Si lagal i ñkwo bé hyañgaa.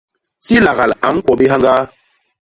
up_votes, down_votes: 1, 2